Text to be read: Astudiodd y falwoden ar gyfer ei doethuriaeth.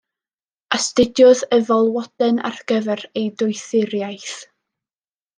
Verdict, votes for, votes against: accepted, 2, 0